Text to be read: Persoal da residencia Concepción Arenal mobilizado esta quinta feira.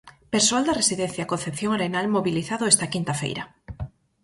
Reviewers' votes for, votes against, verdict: 4, 0, accepted